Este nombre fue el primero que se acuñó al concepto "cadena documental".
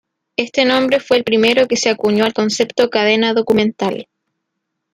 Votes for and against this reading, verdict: 2, 0, accepted